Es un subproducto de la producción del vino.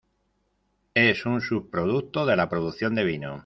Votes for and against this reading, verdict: 1, 2, rejected